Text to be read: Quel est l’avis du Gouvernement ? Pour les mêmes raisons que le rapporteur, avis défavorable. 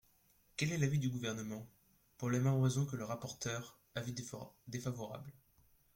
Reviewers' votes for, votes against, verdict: 1, 2, rejected